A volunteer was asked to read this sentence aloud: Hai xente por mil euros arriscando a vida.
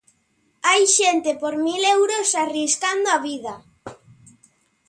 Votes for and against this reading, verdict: 2, 0, accepted